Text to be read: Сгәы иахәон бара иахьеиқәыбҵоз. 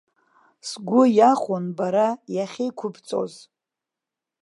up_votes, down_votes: 2, 0